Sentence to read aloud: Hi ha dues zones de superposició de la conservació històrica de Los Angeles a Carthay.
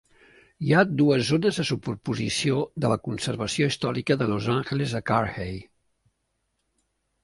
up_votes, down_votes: 2, 0